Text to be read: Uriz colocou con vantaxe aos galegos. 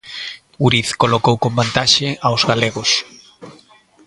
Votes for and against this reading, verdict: 1, 2, rejected